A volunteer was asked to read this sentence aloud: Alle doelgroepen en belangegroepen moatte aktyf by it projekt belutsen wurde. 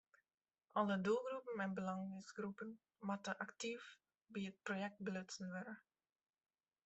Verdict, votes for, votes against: accepted, 2, 0